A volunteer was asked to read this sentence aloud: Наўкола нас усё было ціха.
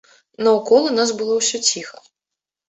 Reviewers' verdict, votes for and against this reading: rejected, 1, 2